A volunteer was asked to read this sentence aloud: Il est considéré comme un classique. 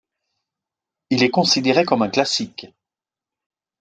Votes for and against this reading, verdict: 2, 0, accepted